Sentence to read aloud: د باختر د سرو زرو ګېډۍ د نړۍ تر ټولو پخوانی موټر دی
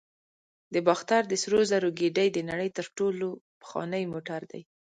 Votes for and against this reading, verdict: 0, 2, rejected